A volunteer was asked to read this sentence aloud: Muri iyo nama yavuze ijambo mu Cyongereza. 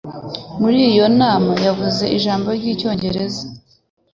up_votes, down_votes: 1, 2